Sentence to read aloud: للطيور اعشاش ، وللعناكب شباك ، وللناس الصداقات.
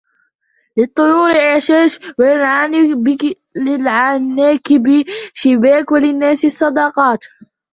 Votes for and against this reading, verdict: 0, 2, rejected